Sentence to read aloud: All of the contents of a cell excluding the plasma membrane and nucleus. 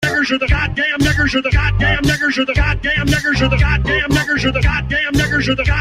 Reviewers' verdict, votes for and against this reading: rejected, 0, 2